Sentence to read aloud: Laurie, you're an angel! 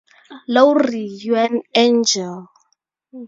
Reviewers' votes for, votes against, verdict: 2, 0, accepted